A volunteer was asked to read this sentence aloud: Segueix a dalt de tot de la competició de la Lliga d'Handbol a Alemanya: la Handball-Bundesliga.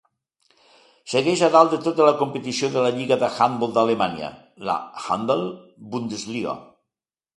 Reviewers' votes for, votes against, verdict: 1, 2, rejected